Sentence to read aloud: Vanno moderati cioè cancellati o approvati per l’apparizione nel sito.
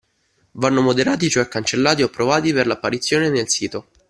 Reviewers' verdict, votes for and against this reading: accepted, 2, 0